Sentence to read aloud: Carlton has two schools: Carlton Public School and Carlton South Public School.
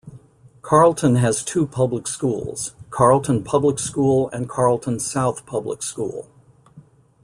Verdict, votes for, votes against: rejected, 1, 2